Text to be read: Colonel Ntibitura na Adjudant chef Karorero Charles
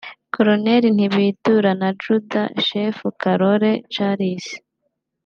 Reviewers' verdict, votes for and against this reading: accepted, 2, 0